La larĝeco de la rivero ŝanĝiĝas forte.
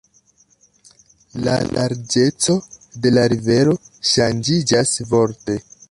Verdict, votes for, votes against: rejected, 0, 2